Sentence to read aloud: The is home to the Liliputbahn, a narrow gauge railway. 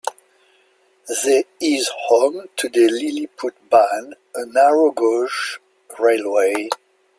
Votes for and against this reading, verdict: 2, 0, accepted